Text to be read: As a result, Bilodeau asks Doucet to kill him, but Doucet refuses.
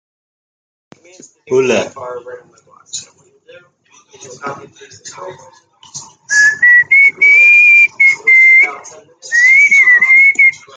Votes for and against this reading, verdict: 0, 2, rejected